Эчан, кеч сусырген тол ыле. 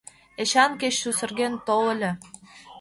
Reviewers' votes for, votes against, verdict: 2, 0, accepted